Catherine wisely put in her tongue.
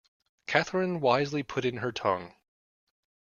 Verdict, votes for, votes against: accepted, 2, 0